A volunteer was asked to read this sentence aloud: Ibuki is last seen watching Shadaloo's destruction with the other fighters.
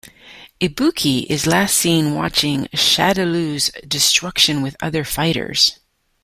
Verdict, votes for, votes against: rejected, 0, 2